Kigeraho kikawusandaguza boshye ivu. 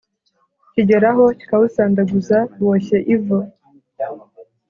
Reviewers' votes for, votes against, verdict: 2, 0, accepted